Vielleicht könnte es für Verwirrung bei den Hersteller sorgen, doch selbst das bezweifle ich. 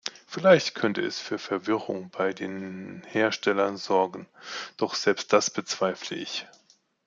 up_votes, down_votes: 1, 2